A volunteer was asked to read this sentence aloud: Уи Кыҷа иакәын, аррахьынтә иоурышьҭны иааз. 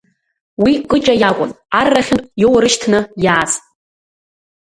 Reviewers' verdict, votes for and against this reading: accepted, 2, 0